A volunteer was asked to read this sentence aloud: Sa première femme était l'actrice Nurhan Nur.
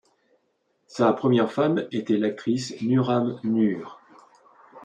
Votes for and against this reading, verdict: 2, 0, accepted